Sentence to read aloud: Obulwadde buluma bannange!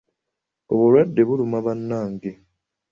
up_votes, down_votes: 2, 0